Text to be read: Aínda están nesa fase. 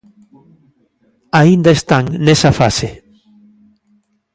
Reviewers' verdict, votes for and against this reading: accepted, 2, 0